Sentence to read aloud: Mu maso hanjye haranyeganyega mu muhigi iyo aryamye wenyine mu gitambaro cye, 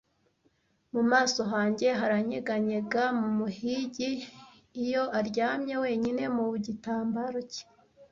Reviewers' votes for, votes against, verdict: 0, 2, rejected